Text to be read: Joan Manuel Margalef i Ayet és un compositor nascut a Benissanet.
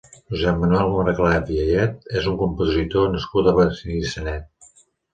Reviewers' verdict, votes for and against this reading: rejected, 1, 2